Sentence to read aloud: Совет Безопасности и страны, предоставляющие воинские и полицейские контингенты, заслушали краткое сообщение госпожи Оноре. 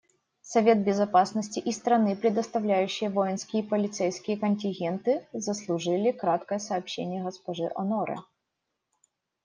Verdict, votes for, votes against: rejected, 0, 2